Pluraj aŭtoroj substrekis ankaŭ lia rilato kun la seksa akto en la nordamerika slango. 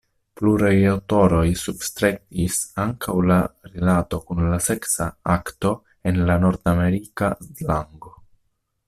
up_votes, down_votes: 1, 2